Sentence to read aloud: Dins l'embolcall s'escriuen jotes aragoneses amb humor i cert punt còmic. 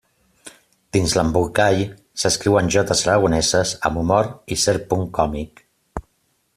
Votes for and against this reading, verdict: 2, 0, accepted